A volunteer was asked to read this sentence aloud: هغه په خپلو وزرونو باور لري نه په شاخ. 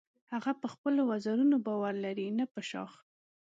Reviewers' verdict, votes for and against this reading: accepted, 2, 0